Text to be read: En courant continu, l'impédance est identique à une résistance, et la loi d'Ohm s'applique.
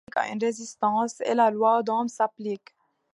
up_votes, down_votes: 2, 1